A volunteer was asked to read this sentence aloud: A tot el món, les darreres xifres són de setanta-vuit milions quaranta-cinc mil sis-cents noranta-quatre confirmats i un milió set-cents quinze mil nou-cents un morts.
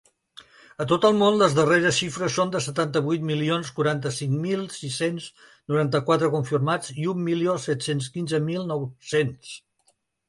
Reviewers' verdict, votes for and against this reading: rejected, 0, 2